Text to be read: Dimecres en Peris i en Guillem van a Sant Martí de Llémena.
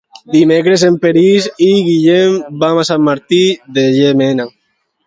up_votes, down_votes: 1, 2